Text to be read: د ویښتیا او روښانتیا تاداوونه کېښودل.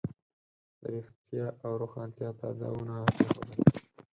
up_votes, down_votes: 2, 4